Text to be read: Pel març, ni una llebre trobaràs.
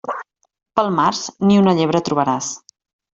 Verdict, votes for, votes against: accepted, 3, 0